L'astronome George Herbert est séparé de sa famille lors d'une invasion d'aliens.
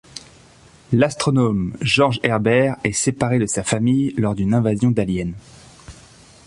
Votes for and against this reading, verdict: 2, 0, accepted